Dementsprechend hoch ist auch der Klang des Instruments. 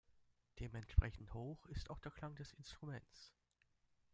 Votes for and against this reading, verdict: 2, 1, accepted